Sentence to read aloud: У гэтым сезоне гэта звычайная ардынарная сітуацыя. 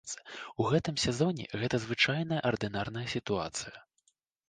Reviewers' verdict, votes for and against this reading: accepted, 2, 0